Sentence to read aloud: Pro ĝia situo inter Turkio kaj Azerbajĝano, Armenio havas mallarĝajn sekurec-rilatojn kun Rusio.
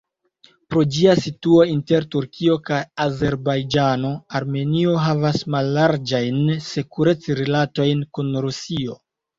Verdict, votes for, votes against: accepted, 2, 0